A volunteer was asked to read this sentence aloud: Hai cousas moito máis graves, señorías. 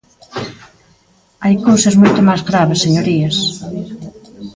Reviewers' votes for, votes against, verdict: 0, 2, rejected